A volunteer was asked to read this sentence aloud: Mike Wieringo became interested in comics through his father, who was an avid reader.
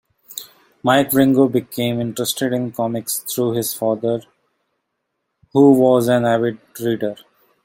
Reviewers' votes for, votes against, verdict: 2, 1, accepted